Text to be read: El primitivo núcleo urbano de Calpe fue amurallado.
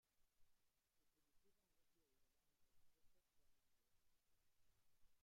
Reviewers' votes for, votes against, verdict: 0, 2, rejected